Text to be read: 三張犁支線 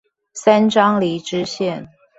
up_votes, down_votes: 2, 0